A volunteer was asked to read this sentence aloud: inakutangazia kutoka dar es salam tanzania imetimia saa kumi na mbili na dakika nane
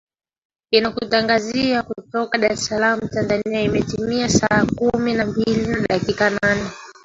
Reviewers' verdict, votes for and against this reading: rejected, 0, 2